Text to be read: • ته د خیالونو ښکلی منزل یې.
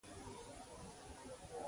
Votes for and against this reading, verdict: 0, 2, rejected